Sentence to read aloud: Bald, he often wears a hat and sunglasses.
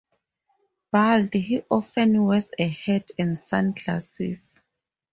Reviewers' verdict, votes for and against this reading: accepted, 4, 0